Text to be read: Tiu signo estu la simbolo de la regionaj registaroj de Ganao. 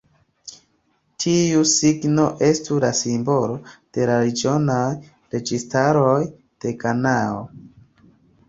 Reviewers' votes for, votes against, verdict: 1, 2, rejected